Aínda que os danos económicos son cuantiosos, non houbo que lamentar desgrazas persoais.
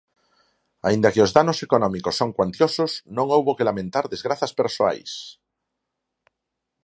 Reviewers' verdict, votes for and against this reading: accepted, 4, 0